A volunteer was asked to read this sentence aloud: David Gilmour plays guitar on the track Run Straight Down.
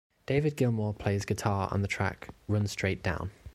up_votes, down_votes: 2, 0